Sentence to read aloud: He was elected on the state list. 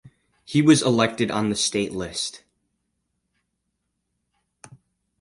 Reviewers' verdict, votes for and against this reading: accepted, 4, 0